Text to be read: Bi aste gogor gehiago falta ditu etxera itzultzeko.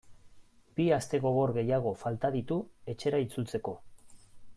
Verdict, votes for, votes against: accepted, 2, 0